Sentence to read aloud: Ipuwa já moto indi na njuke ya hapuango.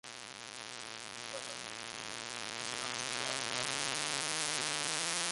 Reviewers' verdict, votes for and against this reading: rejected, 0, 2